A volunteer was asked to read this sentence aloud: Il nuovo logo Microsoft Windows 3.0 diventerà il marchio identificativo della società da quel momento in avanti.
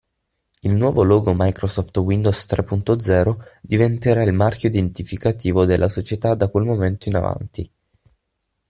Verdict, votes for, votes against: rejected, 0, 2